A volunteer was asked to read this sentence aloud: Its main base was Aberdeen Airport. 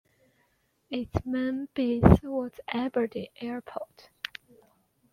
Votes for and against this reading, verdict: 0, 2, rejected